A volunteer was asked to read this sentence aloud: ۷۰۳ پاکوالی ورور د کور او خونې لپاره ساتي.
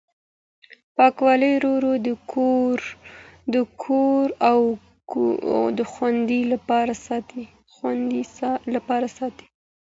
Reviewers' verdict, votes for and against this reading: rejected, 0, 2